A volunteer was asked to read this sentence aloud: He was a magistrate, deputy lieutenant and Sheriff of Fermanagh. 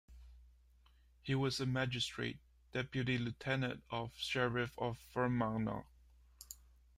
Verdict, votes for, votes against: rejected, 1, 2